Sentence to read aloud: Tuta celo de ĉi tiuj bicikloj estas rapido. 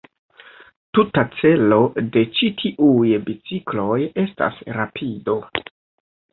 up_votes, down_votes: 0, 2